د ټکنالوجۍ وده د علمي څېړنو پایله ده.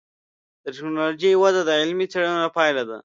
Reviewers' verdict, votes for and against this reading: accepted, 2, 0